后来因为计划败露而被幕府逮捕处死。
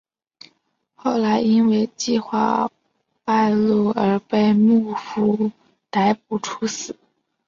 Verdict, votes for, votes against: accepted, 4, 0